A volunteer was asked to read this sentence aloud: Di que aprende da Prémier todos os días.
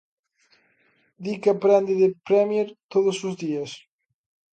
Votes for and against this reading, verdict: 0, 2, rejected